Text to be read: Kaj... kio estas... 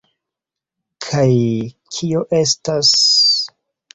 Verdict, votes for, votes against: accepted, 2, 1